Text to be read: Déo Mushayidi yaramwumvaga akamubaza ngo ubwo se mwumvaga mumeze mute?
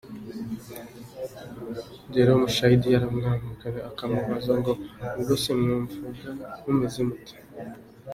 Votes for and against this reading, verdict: 1, 2, rejected